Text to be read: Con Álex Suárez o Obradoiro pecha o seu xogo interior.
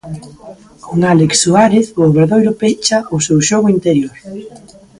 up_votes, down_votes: 1, 2